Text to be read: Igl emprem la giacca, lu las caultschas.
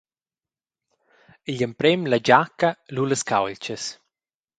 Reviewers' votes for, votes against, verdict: 0, 2, rejected